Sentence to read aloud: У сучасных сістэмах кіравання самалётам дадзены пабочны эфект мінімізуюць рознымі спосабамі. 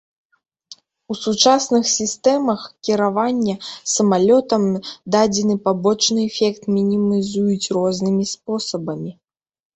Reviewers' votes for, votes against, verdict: 1, 2, rejected